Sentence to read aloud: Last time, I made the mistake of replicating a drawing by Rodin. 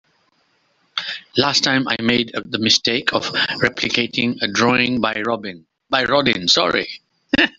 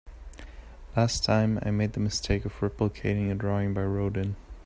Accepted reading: second